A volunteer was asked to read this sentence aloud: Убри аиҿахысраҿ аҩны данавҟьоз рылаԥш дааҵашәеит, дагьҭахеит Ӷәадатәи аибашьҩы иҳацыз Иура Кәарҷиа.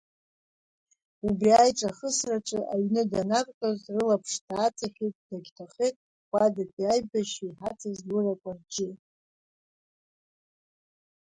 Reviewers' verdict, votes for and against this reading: rejected, 1, 2